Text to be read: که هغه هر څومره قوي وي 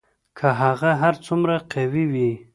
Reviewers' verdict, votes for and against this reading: accepted, 2, 0